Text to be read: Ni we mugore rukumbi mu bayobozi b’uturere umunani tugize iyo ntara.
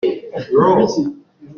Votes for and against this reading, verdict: 0, 2, rejected